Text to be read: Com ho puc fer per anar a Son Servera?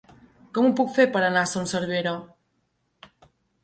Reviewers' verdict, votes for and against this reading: accepted, 2, 0